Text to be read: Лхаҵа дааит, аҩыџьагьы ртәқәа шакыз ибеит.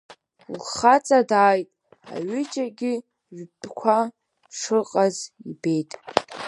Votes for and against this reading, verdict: 5, 7, rejected